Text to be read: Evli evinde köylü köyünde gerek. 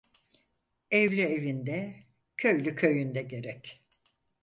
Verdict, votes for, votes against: accepted, 4, 0